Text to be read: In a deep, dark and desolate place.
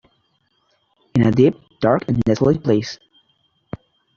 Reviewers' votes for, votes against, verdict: 1, 2, rejected